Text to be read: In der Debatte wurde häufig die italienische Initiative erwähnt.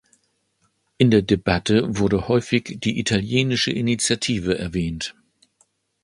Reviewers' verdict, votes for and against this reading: accepted, 2, 0